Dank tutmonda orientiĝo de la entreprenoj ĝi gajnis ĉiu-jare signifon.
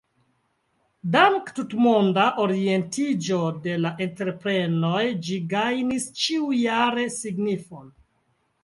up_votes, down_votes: 2, 1